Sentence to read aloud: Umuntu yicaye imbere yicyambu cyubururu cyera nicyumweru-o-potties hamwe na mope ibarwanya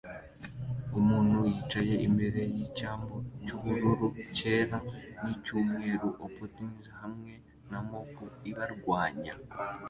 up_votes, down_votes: 2, 1